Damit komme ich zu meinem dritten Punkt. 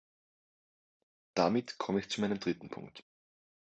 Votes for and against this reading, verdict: 2, 0, accepted